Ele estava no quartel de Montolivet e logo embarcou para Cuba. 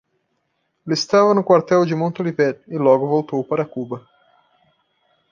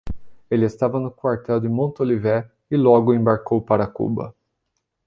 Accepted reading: second